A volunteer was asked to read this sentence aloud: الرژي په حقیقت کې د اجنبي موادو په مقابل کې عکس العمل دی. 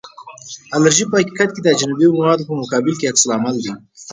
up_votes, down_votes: 4, 0